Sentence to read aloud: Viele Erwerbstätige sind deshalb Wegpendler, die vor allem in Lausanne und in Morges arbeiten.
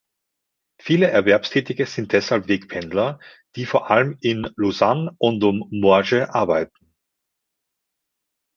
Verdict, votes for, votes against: accepted, 2, 0